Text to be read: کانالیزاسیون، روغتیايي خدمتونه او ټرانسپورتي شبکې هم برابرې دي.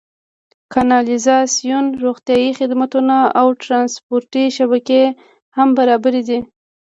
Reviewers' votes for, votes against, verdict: 2, 1, accepted